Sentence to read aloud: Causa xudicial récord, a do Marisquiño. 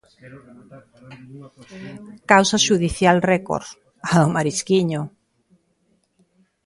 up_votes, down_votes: 2, 1